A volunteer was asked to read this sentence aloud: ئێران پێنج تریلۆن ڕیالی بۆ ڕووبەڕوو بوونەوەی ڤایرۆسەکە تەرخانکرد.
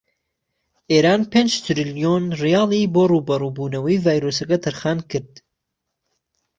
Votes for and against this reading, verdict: 2, 0, accepted